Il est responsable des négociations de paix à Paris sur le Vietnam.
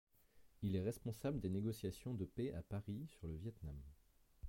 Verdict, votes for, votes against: rejected, 1, 2